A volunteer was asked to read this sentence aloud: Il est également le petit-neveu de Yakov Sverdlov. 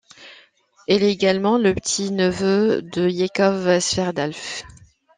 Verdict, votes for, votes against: accepted, 2, 1